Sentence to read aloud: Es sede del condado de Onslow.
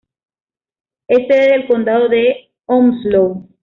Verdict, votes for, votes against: accepted, 2, 0